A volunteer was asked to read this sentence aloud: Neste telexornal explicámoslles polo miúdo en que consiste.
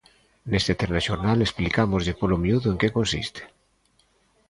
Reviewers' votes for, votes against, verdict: 0, 3, rejected